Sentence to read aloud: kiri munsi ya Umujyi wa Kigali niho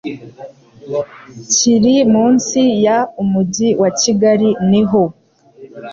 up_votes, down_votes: 2, 0